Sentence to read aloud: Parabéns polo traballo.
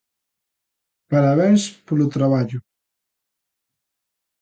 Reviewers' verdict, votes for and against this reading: accepted, 2, 0